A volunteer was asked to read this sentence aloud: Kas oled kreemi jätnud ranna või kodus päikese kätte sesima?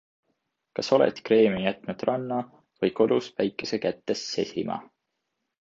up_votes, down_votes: 2, 0